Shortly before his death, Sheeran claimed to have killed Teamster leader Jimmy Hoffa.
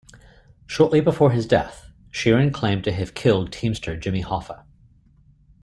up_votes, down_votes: 1, 2